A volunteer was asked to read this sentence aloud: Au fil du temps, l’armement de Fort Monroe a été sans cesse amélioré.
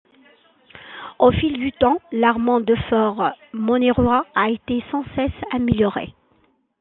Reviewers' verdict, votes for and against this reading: rejected, 0, 2